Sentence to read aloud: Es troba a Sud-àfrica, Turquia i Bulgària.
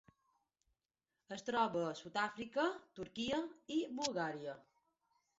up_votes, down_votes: 3, 0